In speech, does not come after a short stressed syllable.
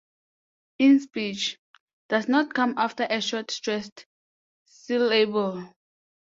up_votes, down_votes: 2, 0